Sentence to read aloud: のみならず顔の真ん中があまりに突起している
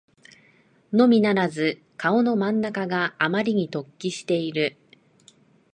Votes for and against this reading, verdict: 2, 0, accepted